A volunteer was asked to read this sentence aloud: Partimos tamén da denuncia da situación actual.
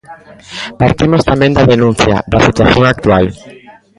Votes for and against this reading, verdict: 0, 2, rejected